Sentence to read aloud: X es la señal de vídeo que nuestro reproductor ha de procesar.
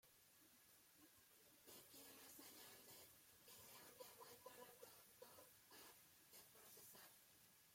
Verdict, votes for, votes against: rejected, 0, 2